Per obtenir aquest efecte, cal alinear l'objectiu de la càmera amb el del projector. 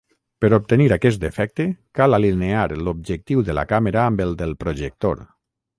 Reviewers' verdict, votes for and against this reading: accepted, 6, 0